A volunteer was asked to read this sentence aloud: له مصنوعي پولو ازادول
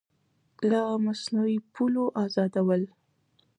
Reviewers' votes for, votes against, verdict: 1, 2, rejected